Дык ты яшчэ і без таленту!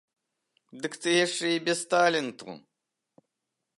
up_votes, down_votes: 2, 0